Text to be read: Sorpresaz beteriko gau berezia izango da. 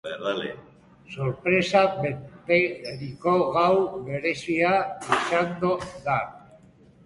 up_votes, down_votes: 2, 1